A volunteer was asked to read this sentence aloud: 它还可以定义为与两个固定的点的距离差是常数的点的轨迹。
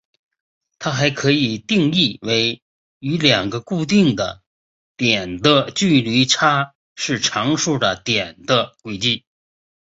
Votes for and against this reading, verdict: 2, 1, accepted